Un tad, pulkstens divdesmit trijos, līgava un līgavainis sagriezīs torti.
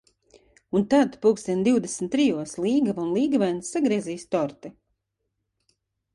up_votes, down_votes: 2, 1